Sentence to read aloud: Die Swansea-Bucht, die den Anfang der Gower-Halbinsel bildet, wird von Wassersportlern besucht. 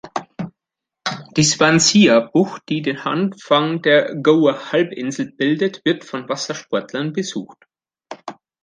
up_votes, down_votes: 2, 3